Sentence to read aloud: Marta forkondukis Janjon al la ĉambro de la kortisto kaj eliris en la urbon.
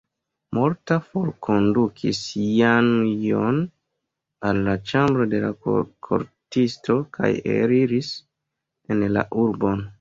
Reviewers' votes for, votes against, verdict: 1, 2, rejected